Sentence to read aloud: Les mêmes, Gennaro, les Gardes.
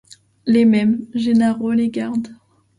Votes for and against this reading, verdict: 2, 0, accepted